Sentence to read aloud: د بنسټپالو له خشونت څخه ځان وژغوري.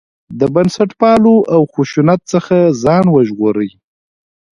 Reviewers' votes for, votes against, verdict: 1, 2, rejected